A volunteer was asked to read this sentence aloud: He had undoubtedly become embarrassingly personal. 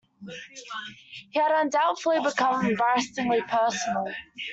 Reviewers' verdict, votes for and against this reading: accepted, 2, 1